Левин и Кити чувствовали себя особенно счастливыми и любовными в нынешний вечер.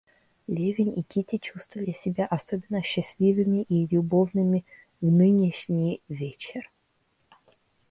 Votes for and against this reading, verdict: 2, 0, accepted